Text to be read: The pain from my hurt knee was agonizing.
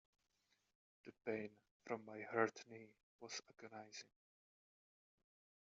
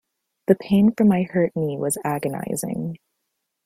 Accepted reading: second